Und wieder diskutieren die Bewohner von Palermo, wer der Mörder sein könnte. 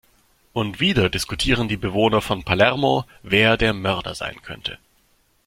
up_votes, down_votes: 2, 0